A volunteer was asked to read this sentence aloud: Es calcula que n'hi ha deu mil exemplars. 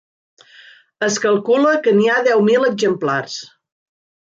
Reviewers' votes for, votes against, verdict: 4, 0, accepted